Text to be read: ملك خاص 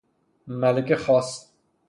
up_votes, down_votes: 3, 0